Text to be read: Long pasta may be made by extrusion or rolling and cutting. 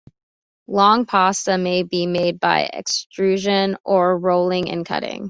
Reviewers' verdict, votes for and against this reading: accepted, 2, 0